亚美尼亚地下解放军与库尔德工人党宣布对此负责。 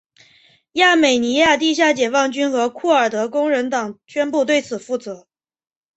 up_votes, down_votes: 2, 0